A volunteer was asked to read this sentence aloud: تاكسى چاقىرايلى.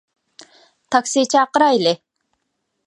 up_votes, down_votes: 2, 0